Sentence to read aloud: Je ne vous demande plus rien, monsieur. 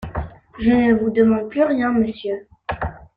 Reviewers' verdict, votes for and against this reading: rejected, 1, 2